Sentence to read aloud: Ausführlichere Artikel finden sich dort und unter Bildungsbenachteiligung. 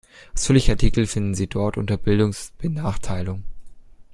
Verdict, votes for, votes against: rejected, 1, 2